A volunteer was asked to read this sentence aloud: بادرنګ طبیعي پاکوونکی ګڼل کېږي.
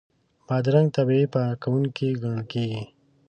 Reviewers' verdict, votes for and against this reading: accepted, 2, 1